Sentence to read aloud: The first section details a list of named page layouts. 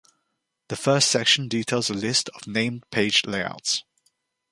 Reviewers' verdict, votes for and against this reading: accepted, 2, 0